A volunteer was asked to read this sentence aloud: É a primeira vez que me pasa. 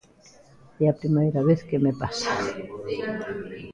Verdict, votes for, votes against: accepted, 2, 1